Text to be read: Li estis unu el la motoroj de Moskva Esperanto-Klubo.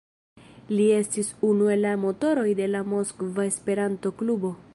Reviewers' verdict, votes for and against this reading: rejected, 1, 2